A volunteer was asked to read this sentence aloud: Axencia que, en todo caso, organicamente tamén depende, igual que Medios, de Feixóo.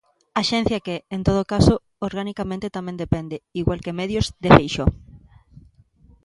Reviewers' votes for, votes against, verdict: 2, 0, accepted